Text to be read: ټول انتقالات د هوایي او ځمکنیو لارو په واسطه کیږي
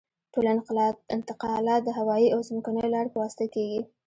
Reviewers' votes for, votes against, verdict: 1, 2, rejected